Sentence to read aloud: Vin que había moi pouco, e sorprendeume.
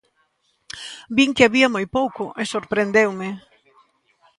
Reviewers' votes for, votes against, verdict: 2, 0, accepted